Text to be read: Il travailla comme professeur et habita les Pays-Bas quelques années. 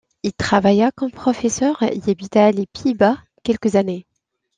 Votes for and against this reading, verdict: 2, 0, accepted